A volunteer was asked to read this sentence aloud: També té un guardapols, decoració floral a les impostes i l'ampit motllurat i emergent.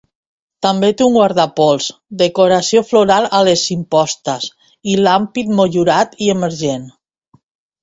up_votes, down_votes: 2, 1